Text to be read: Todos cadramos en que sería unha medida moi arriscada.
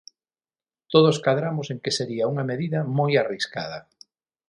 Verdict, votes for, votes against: accepted, 6, 0